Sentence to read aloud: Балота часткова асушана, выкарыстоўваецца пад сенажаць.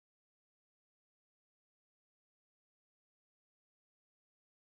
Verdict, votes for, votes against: rejected, 0, 2